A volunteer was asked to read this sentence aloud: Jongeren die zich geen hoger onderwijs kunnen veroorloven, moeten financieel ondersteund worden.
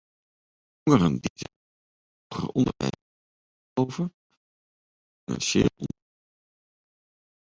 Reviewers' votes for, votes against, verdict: 0, 2, rejected